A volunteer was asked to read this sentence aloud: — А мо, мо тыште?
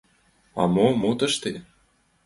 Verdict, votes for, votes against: accepted, 2, 1